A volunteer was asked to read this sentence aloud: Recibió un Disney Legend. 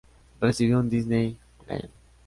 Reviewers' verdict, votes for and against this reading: rejected, 0, 2